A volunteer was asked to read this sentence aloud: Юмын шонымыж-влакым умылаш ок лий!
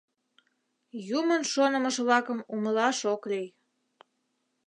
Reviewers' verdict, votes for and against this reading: accepted, 3, 0